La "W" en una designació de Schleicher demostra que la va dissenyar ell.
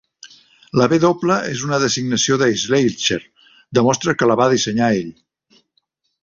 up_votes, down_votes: 2, 0